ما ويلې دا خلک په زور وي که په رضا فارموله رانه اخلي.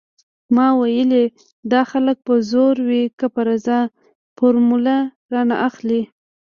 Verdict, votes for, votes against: rejected, 0, 2